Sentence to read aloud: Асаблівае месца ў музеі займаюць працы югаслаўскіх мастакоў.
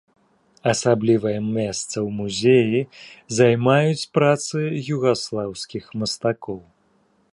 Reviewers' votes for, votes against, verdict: 1, 2, rejected